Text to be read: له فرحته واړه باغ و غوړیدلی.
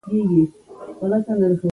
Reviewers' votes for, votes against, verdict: 0, 2, rejected